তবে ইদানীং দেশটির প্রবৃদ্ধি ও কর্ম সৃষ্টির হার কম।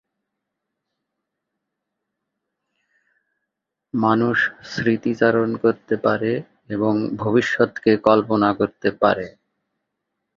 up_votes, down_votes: 0, 6